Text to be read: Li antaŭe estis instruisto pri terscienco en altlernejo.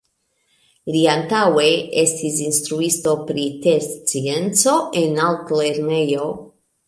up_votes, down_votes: 2, 1